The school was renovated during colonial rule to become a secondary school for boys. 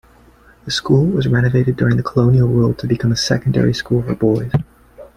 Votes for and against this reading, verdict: 2, 0, accepted